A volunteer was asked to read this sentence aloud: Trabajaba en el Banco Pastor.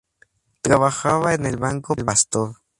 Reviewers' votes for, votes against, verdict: 2, 0, accepted